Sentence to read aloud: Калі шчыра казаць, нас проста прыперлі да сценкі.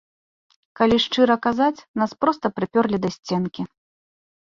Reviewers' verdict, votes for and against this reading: rejected, 0, 2